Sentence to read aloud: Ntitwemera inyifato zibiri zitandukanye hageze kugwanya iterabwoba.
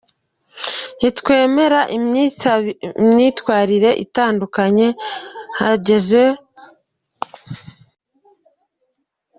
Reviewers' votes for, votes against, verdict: 0, 2, rejected